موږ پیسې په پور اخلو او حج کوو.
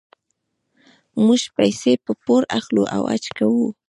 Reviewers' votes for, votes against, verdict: 2, 0, accepted